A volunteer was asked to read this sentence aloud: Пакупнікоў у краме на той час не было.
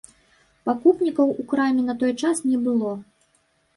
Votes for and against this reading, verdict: 0, 2, rejected